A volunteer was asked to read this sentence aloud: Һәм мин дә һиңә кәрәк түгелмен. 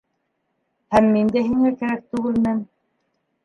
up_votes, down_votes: 1, 3